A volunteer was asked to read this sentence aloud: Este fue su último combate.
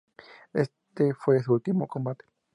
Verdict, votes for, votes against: accepted, 2, 0